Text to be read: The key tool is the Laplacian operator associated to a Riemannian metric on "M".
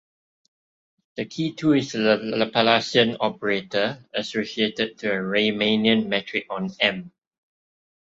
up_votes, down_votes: 1, 2